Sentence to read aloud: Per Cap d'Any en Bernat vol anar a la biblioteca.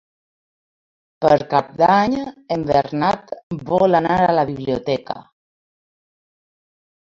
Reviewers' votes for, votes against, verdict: 0, 2, rejected